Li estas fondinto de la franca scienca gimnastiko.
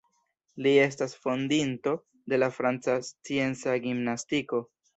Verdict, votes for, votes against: accepted, 2, 0